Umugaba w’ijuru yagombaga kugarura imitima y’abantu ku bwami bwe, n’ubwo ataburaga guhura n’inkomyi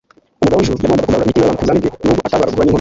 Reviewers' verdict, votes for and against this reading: accepted, 3, 1